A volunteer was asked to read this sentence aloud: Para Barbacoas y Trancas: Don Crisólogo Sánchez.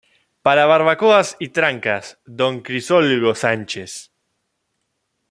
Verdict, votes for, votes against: rejected, 0, 2